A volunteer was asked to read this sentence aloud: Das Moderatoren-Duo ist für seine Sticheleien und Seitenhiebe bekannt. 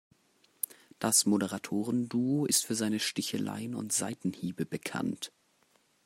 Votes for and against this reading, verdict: 2, 0, accepted